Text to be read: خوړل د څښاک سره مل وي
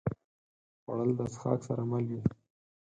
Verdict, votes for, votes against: rejected, 0, 4